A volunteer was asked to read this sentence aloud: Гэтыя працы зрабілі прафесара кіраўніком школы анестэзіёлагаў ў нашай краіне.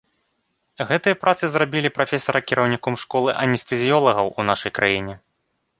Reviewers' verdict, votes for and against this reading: accepted, 2, 0